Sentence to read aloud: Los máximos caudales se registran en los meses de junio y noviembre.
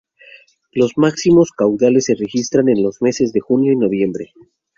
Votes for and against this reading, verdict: 4, 2, accepted